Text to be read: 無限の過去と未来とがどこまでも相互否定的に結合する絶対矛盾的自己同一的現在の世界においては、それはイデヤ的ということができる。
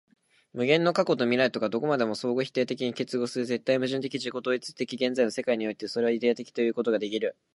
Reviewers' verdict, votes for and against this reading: rejected, 1, 2